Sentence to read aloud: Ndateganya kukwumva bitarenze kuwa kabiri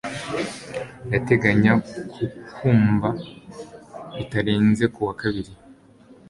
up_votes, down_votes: 2, 0